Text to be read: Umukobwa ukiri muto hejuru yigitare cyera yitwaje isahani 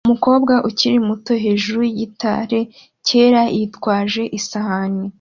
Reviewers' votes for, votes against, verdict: 2, 0, accepted